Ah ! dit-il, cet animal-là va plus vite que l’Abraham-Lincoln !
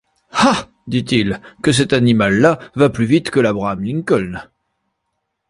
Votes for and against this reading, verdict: 0, 2, rejected